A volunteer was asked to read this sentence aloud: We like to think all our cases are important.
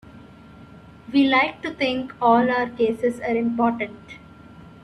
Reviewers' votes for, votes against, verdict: 1, 2, rejected